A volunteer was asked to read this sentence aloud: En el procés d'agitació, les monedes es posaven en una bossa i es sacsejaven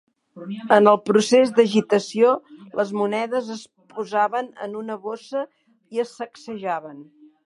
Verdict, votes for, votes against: accepted, 4, 0